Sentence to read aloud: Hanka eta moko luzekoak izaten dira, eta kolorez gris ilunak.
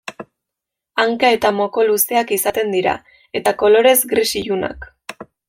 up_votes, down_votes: 0, 2